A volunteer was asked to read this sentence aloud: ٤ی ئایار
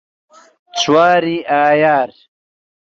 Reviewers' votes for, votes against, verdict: 0, 2, rejected